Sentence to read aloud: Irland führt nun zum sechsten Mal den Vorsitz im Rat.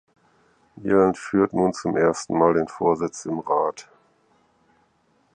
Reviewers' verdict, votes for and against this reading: rejected, 0, 4